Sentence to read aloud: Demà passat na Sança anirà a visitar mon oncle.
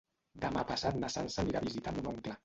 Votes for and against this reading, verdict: 1, 2, rejected